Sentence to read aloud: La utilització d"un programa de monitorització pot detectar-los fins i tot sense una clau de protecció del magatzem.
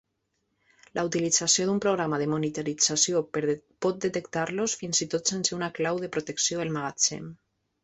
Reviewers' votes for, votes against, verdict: 0, 2, rejected